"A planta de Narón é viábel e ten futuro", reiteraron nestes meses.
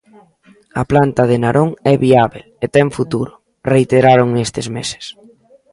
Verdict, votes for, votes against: rejected, 1, 2